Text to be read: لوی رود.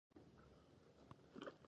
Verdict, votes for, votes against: accepted, 2, 0